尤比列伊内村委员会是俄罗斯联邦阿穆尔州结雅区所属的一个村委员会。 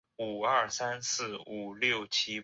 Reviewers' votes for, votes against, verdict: 0, 2, rejected